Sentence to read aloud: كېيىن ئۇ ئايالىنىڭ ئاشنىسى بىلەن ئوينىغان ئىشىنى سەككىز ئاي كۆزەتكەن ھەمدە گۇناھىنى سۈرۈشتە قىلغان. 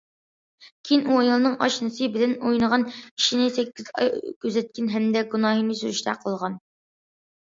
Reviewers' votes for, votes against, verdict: 2, 0, accepted